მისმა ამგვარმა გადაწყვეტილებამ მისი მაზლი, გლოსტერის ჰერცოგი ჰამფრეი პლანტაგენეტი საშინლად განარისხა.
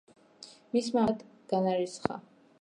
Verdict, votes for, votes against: rejected, 0, 2